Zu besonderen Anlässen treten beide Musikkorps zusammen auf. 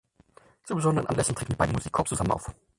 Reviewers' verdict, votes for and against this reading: rejected, 0, 4